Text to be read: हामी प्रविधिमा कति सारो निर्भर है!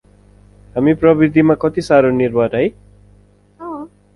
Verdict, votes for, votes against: rejected, 2, 4